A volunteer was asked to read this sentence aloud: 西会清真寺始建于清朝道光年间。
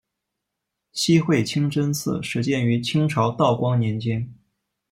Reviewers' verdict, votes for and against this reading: accepted, 2, 0